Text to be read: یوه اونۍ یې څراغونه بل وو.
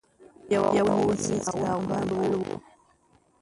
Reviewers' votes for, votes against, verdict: 0, 2, rejected